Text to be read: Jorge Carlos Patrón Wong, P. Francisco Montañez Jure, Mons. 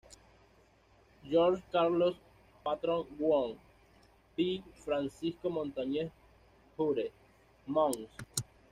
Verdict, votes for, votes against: rejected, 1, 2